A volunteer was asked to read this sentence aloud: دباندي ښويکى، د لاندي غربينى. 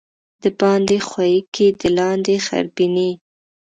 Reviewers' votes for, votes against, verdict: 2, 0, accepted